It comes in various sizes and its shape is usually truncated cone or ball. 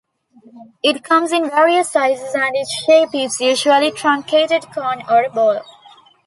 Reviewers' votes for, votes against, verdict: 2, 0, accepted